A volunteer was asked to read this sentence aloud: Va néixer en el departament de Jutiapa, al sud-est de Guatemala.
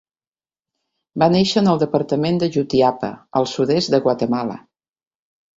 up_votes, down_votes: 3, 0